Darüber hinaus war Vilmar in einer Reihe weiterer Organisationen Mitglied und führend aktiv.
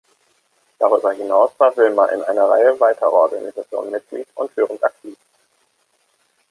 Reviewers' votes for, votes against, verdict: 2, 0, accepted